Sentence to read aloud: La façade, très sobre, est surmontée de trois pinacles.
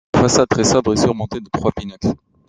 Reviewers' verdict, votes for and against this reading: rejected, 1, 2